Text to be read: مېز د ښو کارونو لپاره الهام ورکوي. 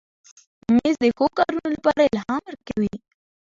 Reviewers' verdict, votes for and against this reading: accepted, 2, 0